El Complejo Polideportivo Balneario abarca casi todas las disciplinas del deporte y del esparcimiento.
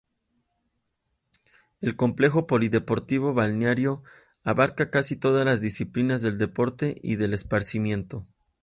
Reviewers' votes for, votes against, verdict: 2, 0, accepted